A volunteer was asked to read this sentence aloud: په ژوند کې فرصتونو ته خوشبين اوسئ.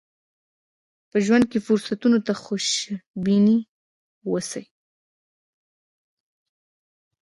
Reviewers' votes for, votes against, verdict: 2, 0, accepted